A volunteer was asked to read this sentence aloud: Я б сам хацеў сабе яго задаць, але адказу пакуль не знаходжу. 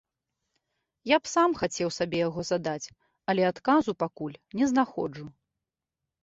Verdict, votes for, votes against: accepted, 2, 0